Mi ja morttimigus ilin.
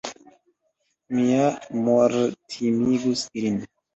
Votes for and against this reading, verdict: 1, 2, rejected